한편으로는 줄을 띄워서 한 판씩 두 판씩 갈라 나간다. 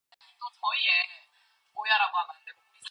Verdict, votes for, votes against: rejected, 0, 2